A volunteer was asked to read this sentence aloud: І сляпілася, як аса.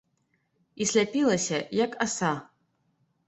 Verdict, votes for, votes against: accepted, 2, 0